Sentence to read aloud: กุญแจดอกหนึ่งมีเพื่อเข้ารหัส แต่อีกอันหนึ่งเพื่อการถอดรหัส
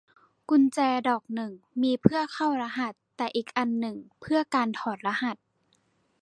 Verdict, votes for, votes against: accepted, 2, 0